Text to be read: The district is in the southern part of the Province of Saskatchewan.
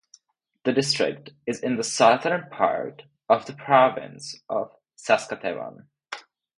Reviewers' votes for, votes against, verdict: 0, 4, rejected